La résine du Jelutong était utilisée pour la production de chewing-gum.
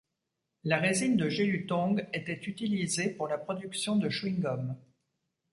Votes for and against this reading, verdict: 0, 2, rejected